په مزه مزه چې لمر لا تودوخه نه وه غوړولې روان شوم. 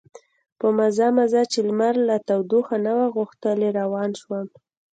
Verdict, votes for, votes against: rejected, 1, 2